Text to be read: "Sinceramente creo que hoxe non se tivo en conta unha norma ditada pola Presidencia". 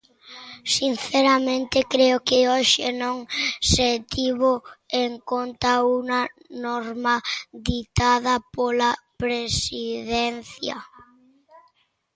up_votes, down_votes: 0, 2